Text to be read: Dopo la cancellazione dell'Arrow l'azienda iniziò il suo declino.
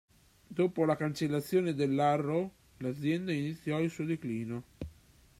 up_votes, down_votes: 2, 0